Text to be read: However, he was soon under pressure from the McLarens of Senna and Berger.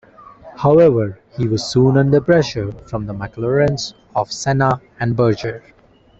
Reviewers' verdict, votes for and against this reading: rejected, 0, 2